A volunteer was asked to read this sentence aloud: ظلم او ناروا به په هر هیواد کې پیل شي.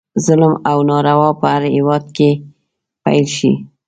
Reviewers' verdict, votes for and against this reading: accepted, 2, 0